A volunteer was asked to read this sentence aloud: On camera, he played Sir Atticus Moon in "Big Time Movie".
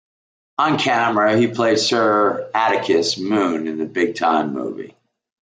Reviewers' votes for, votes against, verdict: 1, 2, rejected